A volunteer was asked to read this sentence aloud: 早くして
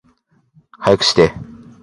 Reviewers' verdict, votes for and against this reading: accepted, 2, 0